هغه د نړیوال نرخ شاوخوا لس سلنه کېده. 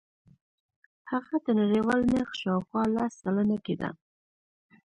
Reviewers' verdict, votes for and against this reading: accepted, 2, 1